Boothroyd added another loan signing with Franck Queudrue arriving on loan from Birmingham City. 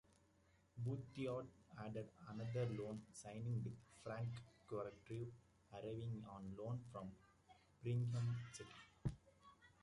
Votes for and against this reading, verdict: 0, 2, rejected